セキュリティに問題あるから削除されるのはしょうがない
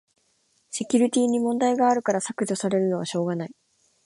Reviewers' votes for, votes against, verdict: 2, 0, accepted